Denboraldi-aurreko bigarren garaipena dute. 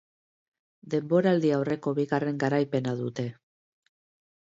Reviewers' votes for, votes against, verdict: 2, 0, accepted